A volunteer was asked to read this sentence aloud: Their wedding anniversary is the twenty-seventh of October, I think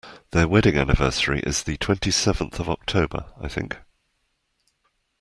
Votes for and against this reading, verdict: 2, 0, accepted